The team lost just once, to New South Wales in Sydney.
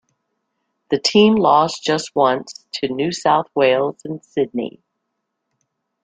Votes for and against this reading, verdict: 2, 0, accepted